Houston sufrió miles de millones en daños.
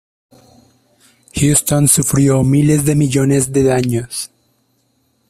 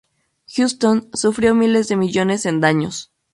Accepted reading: second